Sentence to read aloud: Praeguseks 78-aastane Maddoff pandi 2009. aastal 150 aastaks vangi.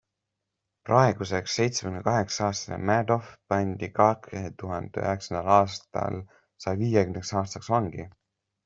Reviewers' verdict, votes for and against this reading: rejected, 0, 2